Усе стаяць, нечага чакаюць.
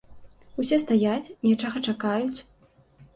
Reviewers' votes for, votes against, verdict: 2, 0, accepted